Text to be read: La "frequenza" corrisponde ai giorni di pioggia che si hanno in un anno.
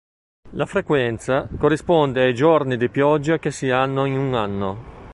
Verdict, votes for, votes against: accepted, 3, 0